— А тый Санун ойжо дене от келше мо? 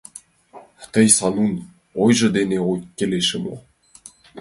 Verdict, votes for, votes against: rejected, 0, 2